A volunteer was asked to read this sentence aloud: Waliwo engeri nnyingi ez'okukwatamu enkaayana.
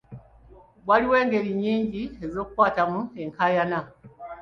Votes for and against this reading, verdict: 3, 1, accepted